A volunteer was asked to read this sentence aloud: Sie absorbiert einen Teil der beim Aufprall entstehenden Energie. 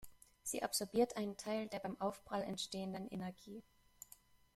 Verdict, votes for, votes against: accepted, 2, 0